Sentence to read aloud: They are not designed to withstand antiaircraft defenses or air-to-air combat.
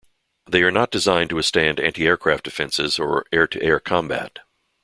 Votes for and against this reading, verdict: 2, 0, accepted